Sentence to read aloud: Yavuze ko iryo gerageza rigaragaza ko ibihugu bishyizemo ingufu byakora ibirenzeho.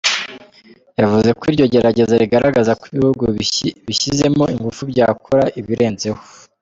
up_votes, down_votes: 0, 2